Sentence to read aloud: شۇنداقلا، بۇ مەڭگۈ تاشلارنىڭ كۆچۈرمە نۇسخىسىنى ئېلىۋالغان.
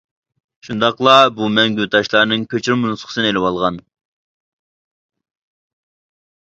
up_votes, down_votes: 2, 0